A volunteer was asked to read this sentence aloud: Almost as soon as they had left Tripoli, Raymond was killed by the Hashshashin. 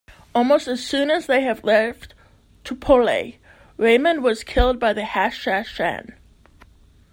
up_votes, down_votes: 1, 3